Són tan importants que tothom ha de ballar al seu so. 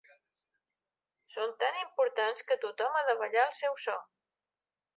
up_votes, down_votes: 3, 0